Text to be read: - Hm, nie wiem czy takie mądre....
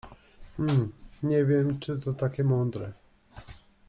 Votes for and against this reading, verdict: 0, 2, rejected